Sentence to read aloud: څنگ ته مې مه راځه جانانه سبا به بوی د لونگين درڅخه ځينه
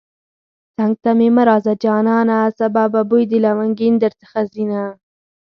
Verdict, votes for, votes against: accepted, 4, 0